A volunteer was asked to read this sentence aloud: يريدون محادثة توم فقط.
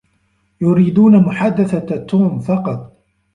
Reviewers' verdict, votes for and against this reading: accepted, 2, 1